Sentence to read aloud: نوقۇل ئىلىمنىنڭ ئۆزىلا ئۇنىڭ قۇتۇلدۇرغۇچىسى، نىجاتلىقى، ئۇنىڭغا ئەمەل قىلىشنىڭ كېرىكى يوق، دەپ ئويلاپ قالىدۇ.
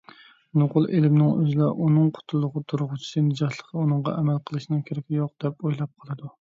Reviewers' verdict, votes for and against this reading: rejected, 0, 2